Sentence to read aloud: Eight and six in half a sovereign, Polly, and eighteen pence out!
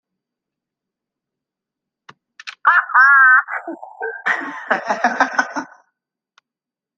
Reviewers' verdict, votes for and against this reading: rejected, 0, 2